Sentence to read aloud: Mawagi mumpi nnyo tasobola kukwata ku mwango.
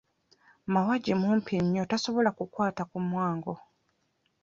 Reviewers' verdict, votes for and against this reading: accepted, 2, 0